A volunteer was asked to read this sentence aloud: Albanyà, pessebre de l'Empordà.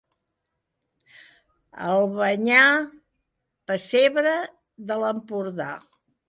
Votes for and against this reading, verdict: 2, 0, accepted